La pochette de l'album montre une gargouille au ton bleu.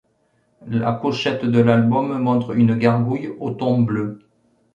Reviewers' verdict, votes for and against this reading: accepted, 2, 0